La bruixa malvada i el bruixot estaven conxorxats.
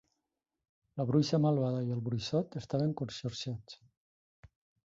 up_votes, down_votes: 2, 0